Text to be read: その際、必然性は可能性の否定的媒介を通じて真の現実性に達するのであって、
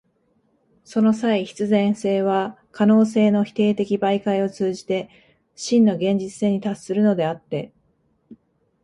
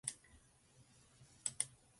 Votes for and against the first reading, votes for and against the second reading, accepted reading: 3, 0, 0, 3, first